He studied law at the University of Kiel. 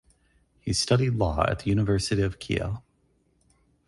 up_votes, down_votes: 6, 0